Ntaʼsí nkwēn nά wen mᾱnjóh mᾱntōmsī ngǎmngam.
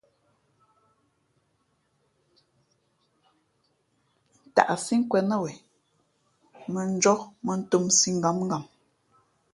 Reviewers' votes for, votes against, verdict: 2, 0, accepted